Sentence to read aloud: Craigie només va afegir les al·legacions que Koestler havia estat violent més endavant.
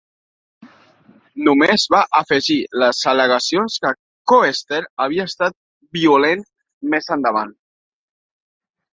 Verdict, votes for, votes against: rejected, 0, 2